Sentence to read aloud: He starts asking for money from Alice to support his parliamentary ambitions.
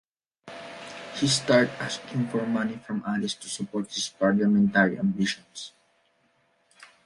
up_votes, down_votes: 2, 0